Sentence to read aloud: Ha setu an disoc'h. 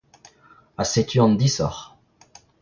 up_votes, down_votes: 2, 0